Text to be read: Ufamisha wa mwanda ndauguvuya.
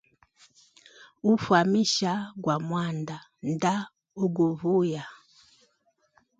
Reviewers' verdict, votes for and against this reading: accepted, 2, 0